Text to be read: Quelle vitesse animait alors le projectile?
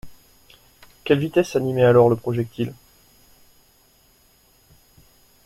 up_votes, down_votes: 2, 0